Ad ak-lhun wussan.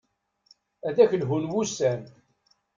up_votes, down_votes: 2, 0